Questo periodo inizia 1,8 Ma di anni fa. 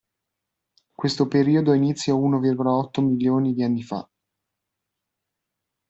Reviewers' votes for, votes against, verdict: 0, 2, rejected